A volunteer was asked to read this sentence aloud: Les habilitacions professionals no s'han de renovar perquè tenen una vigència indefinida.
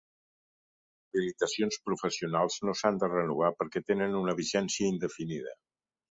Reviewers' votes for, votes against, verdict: 1, 2, rejected